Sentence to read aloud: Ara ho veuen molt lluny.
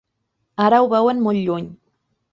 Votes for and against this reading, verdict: 3, 0, accepted